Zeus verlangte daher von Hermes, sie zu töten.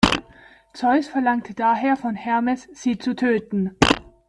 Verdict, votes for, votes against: accepted, 2, 0